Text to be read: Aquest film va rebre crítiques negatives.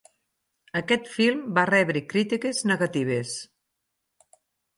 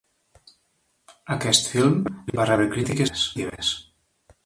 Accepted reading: first